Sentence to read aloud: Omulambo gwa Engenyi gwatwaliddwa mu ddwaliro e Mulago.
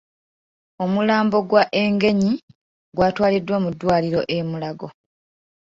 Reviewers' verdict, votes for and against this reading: accepted, 2, 0